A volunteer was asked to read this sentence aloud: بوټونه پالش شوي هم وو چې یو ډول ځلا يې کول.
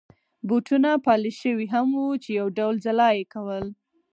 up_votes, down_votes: 4, 0